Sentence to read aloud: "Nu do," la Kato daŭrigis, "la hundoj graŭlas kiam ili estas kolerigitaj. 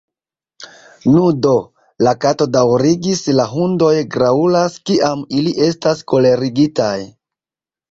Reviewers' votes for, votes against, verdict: 1, 2, rejected